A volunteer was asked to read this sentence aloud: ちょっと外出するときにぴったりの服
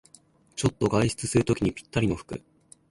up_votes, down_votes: 2, 0